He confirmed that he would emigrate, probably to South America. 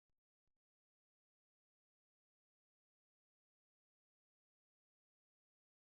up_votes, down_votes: 0, 2